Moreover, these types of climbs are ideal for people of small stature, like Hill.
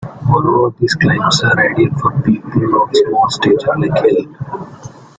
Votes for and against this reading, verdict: 0, 2, rejected